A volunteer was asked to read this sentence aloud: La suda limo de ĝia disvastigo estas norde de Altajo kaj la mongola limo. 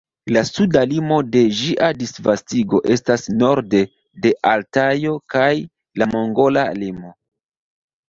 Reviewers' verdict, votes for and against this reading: accepted, 2, 1